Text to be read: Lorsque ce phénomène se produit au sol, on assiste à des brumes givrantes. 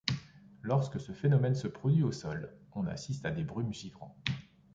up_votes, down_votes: 2, 0